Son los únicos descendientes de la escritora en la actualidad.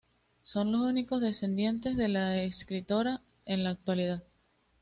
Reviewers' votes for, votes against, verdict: 2, 0, accepted